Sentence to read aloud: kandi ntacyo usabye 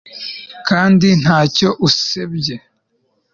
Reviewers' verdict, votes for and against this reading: rejected, 1, 2